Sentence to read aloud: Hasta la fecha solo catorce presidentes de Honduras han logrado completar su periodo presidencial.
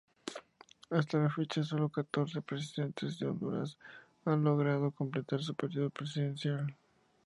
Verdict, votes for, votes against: accepted, 4, 2